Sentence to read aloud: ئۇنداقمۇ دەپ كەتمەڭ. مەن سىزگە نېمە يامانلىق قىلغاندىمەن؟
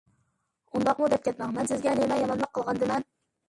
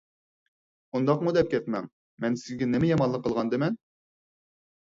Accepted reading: second